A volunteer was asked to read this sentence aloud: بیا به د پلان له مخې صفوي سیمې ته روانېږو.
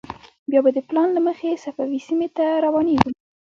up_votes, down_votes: 1, 2